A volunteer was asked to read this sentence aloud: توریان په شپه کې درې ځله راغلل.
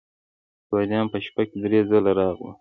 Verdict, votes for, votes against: rejected, 1, 2